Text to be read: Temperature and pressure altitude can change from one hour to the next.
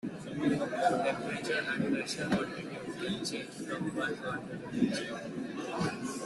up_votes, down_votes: 0, 2